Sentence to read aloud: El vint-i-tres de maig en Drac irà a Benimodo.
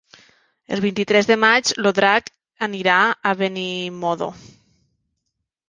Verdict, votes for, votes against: rejected, 0, 2